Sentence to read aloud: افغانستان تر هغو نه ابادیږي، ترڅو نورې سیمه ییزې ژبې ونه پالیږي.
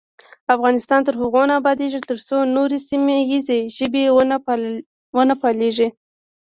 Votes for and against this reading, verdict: 1, 2, rejected